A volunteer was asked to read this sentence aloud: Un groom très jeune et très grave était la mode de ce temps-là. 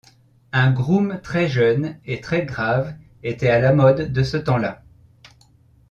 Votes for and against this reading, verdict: 1, 2, rejected